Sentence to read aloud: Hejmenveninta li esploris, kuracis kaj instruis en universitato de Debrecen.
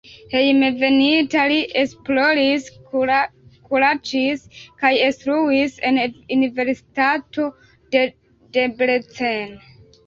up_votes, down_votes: 0, 3